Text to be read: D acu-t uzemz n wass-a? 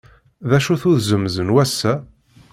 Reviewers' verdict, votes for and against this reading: accepted, 2, 0